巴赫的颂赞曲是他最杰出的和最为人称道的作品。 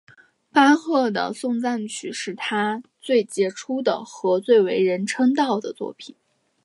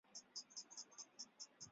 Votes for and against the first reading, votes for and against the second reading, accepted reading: 2, 1, 0, 9, first